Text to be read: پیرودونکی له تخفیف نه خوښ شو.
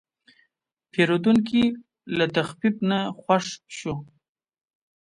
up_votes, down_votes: 2, 0